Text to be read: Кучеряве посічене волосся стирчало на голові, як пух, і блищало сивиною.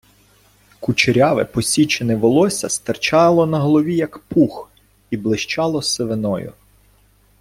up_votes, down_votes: 2, 0